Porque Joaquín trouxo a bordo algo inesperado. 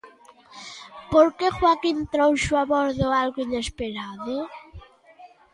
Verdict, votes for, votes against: rejected, 1, 2